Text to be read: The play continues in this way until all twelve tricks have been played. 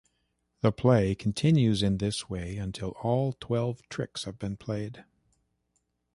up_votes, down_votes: 2, 0